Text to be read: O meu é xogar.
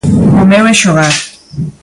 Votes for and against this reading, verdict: 2, 0, accepted